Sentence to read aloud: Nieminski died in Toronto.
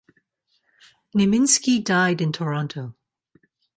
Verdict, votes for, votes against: accepted, 2, 0